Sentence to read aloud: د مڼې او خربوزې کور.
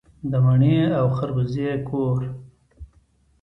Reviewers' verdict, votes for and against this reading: accepted, 2, 0